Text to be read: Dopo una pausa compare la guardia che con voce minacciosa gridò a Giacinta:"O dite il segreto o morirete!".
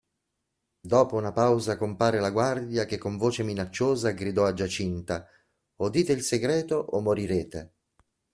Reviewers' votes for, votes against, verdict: 2, 0, accepted